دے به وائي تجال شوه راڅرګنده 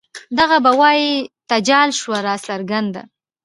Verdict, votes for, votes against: accepted, 2, 0